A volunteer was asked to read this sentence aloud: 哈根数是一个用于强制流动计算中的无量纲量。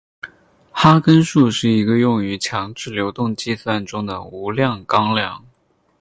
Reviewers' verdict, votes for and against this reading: accepted, 4, 0